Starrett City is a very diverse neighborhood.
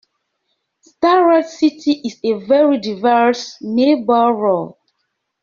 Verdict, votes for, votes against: rejected, 0, 2